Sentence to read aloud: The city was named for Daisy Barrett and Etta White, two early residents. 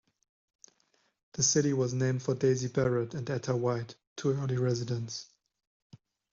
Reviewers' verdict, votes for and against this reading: accepted, 2, 0